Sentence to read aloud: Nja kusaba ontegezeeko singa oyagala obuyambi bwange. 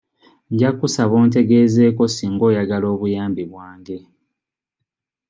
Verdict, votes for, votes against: accepted, 2, 0